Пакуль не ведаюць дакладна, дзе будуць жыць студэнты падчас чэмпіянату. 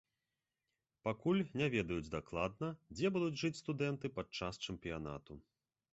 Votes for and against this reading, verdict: 2, 0, accepted